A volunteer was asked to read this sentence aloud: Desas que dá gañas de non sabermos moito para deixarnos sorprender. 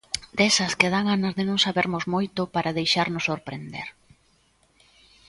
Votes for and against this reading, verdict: 0, 2, rejected